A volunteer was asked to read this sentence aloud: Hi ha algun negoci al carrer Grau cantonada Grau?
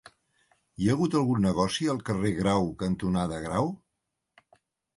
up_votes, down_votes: 0, 2